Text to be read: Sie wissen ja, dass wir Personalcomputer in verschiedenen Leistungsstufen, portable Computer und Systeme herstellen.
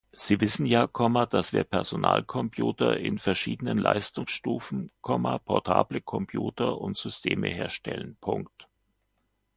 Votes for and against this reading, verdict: 2, 0, accepted